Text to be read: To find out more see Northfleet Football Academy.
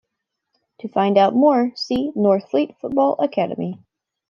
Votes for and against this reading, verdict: 2, 0, accepted